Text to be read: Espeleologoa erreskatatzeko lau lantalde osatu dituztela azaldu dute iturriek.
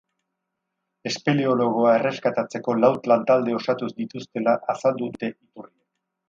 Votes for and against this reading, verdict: 0, 2, rejected